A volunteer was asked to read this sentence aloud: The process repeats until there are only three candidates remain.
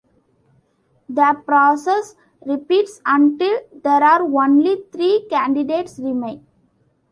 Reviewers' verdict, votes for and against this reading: rejected, 1, 2